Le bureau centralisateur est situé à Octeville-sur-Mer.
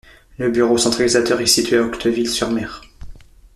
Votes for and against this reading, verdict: 1, 2, rejected